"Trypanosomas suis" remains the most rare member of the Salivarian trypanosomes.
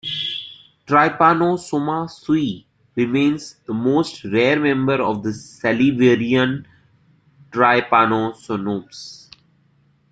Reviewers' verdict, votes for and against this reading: rejected, 1, 2